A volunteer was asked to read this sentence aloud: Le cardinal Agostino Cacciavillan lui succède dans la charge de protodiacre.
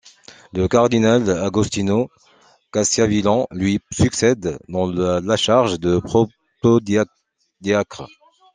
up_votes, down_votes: 0, 2